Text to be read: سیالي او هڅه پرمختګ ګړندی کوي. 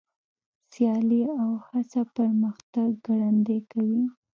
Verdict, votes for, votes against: rejected, 0, 2